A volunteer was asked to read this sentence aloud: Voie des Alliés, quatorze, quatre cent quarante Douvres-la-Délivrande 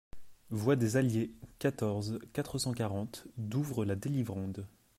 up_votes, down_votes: 2, 0